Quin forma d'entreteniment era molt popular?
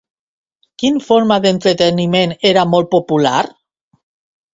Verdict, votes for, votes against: accepted, 2, 0